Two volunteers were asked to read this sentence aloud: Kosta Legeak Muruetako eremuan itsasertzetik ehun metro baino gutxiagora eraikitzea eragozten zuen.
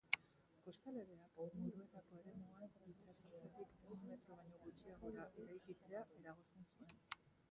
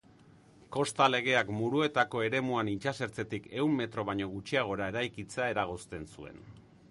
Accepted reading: second